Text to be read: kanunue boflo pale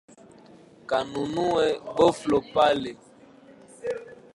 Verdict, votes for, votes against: rejected, 0, 2